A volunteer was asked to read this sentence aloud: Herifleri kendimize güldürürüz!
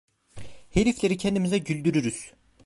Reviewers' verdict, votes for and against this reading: accepted, 2, 0